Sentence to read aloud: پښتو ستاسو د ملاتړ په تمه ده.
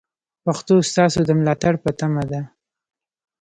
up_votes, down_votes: 2, 1